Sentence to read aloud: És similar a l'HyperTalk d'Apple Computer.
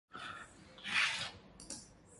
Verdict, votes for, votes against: rejected, 1, 2